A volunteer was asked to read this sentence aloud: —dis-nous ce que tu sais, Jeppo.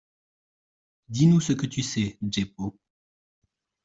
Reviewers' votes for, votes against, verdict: 2, 0, accepted